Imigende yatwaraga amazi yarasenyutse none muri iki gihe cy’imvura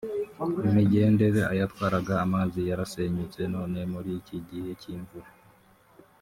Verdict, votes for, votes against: rejected, 1, 2